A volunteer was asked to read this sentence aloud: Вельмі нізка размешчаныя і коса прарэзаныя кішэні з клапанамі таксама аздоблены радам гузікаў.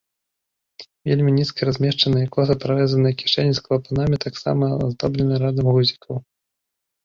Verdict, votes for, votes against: rejected, 1, 2